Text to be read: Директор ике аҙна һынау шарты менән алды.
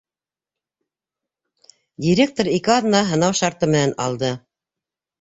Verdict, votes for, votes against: accepted, 3, 0